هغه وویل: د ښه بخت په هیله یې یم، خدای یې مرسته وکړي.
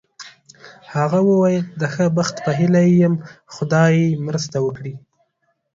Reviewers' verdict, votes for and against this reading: accepted, 2, 0